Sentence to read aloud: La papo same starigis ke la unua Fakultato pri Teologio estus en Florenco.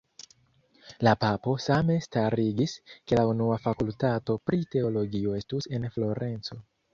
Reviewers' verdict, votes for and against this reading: accepted, 2, 0